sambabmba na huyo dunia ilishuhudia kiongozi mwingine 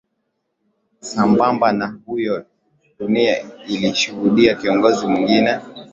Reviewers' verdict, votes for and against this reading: accepted, 2, 1